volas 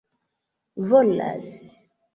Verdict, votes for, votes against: accepted, 2, 0